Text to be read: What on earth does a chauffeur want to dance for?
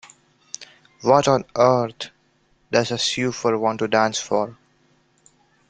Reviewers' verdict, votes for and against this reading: rejected, 1, 2